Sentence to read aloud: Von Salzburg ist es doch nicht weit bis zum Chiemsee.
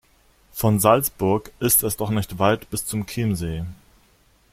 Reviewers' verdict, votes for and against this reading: accepted, 2, 0